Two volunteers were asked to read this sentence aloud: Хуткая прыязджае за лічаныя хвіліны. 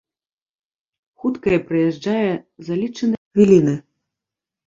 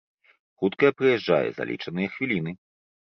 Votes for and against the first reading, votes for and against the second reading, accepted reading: 0, 2, 2, 0, second